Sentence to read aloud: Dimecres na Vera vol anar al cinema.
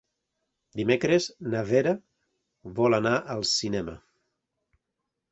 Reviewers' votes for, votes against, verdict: 3, 0, accepted